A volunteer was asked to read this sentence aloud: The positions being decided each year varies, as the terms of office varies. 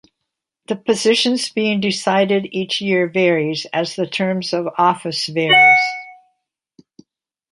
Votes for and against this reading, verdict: 2, 0, accepted